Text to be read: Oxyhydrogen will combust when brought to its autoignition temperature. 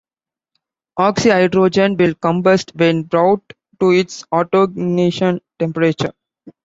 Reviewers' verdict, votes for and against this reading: accepted, 2, 0